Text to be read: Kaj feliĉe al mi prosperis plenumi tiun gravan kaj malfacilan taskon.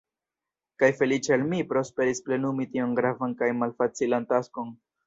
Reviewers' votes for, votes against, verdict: 2, 0, accepted